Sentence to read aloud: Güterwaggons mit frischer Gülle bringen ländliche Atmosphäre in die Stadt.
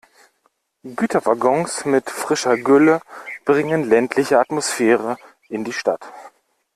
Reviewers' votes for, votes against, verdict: 2, 0, accepted